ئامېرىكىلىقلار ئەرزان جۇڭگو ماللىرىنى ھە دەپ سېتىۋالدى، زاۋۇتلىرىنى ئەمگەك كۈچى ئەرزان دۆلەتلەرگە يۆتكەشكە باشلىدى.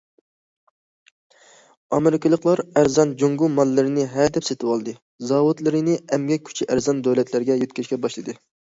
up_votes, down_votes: 2, 0